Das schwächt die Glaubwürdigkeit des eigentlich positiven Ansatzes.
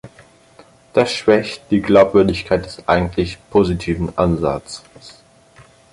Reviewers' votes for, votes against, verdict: 4, 6, rejected